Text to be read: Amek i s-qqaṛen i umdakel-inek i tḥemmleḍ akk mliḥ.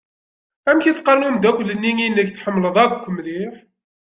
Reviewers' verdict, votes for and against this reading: rejected, 1, 2